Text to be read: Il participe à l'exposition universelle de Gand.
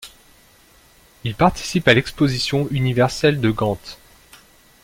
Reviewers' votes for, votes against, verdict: 0, 2, rejected